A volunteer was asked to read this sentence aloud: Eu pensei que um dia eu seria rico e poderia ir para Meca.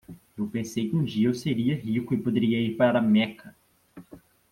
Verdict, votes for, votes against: accepted, 2, 0